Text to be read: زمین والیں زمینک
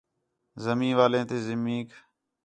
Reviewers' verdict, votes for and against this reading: accepted, 2, 0